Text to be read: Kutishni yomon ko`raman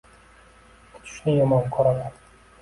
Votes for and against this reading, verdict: 2, 0, accepted